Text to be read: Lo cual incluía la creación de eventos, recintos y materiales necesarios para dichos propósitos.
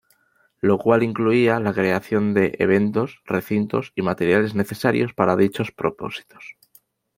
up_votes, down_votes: 2, 0